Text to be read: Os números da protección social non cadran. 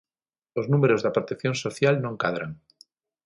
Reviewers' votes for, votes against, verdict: 6, 0, accepted